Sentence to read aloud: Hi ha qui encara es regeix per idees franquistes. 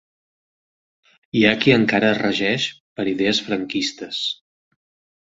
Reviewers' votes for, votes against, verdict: 3, 0, accepted